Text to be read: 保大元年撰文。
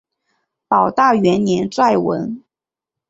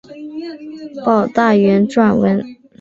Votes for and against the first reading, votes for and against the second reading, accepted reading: 0, 2, 4, 1, second